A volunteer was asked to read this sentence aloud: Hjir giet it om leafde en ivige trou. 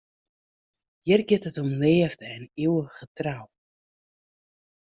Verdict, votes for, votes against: rejected, 1, 2